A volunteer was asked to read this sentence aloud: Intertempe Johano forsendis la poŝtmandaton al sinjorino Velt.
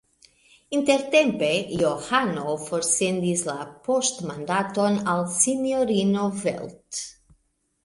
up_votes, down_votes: 2, 0